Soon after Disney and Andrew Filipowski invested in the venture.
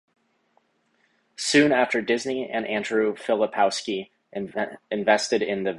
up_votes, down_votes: 0, 4